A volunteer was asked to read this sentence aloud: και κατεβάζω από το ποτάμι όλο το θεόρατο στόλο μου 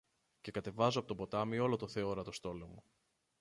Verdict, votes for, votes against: rejected, 1, 2